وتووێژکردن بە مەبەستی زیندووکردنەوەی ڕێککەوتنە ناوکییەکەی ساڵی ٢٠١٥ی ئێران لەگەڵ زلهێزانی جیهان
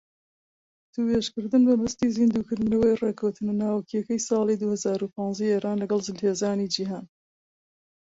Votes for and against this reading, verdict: 0, 2, rejected